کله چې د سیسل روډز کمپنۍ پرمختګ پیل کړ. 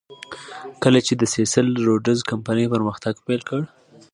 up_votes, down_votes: 2, 0